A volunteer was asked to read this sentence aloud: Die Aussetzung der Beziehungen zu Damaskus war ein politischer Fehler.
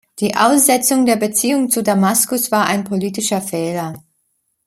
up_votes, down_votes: 2, 0